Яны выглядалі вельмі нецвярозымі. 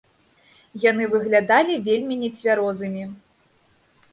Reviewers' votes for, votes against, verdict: 2, 0, accepted